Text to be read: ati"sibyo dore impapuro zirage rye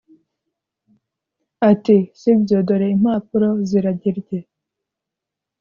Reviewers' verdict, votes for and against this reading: accepted, 2, 0